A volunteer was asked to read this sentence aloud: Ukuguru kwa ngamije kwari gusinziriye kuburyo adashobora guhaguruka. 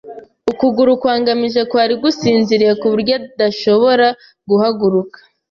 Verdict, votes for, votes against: accepted, 2, 0